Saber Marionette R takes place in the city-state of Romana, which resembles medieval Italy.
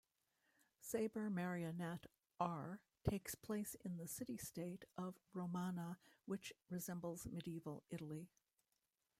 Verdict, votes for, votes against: rejected, 1, 2